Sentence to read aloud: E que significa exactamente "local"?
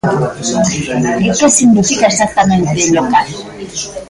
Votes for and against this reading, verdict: 0, 2, rejected